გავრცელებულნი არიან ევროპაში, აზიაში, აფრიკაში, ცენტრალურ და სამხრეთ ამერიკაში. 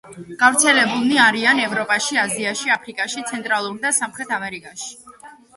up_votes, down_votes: 1, 2